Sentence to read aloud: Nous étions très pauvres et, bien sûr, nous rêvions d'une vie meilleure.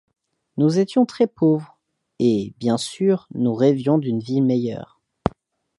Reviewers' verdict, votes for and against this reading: accepted, 2, 0